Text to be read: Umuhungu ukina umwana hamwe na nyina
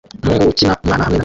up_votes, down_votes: 0, 2